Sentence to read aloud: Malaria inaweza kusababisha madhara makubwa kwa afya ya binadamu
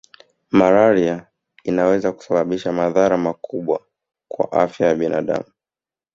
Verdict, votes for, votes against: accepted, 2, 0